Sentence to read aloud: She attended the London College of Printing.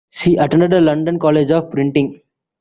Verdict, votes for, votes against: accepted, 3, 2